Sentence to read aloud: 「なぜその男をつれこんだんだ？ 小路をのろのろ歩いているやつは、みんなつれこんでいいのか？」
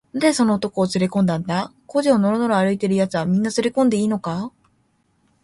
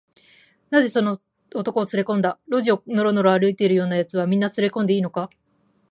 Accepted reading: first